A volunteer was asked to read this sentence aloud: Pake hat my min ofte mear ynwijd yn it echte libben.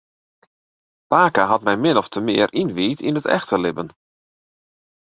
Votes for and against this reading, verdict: 2, 4, rejected